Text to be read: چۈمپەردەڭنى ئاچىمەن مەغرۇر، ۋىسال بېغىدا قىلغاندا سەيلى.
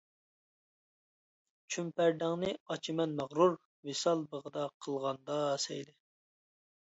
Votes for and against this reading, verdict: 0, 2, rejected